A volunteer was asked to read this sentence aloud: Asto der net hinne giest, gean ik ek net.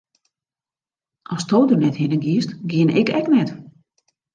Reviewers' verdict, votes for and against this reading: accepted, 2, 0